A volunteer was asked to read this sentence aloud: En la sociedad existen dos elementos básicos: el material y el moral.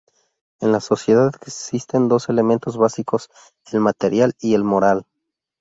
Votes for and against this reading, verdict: 0, 2, rejected